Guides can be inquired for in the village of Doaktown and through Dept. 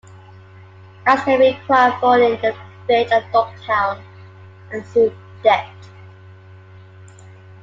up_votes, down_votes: 0, 2